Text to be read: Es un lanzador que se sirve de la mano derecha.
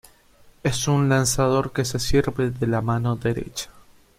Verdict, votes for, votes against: accepted, 2, 0